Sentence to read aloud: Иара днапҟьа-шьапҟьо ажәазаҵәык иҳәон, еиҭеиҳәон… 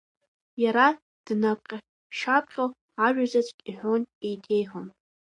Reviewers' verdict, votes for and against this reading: rejected, 0, 2